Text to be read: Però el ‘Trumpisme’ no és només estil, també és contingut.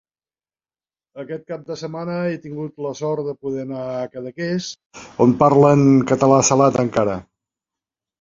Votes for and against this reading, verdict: 0, 2, rejected